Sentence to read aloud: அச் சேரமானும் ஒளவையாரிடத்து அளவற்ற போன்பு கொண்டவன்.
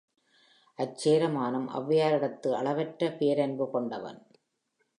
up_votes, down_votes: 3, 0